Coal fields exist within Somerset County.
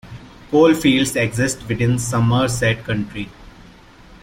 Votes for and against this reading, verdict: 0, 2, rejected